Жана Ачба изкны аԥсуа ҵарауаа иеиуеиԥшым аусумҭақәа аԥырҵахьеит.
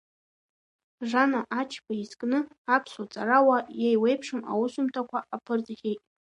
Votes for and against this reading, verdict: 2, 1, accepted